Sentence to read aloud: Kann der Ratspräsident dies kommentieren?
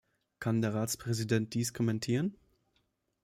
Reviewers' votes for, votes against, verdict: 2, 0, accepted